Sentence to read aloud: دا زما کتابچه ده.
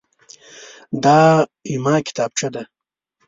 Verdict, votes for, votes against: accepted, 2, 0